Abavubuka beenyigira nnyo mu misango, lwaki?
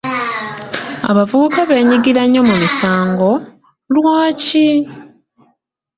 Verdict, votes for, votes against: rejected, 0, 2